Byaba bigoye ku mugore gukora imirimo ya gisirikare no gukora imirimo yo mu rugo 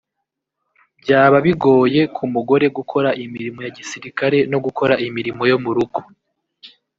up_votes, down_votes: 0, 2